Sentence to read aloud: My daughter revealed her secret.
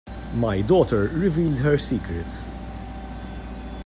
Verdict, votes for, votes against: accepted, 2, 0